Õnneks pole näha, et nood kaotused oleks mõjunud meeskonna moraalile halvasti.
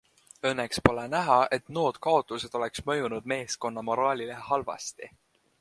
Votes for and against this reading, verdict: 2, 0, accepted